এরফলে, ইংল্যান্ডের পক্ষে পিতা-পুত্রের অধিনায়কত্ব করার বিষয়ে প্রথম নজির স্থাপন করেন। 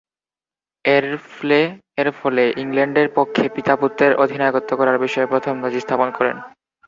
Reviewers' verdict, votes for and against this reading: rejected, 0, 4